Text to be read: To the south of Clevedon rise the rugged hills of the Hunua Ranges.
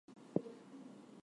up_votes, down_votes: 0, 4